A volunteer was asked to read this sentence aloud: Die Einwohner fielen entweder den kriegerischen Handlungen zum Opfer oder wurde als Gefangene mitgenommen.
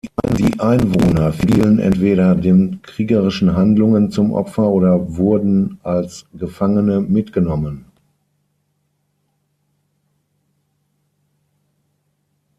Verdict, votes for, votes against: rejected, 3, 6